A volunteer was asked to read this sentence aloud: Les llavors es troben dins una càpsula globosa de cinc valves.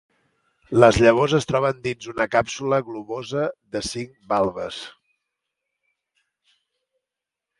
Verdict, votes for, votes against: accepted, 2, 0